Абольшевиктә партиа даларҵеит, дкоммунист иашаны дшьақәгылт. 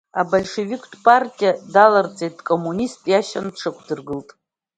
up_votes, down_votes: 0, 2